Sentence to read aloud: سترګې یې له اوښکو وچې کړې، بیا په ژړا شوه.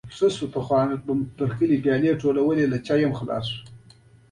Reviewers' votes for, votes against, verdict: 2, 1, accepted